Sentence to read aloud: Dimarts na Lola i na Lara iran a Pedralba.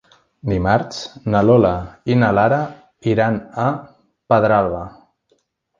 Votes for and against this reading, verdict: 3, 0, accepted